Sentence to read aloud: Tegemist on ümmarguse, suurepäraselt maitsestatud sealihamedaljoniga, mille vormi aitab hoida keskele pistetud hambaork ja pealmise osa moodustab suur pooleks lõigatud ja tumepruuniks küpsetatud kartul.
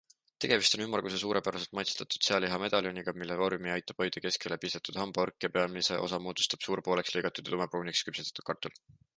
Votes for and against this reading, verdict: 2, 0, accepted